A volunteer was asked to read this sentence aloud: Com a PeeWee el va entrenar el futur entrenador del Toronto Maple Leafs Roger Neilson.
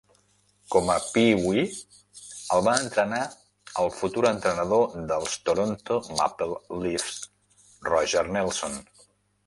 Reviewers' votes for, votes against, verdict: 1, 2, rejected